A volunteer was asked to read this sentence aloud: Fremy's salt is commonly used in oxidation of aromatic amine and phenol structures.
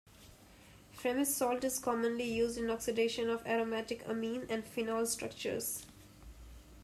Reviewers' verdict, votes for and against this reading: accepted, 2, 0